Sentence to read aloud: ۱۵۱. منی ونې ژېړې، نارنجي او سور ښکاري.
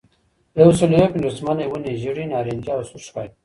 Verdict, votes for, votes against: rejected, 0, 2